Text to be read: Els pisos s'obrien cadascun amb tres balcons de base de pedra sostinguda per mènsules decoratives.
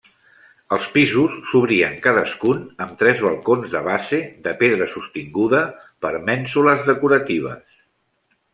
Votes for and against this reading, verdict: 3, 0, accepted